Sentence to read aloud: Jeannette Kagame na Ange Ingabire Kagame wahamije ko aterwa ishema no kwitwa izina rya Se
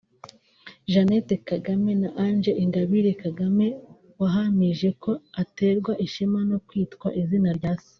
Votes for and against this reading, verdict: 3, 1, accepted